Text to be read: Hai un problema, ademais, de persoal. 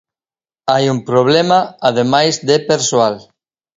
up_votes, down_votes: 0, 2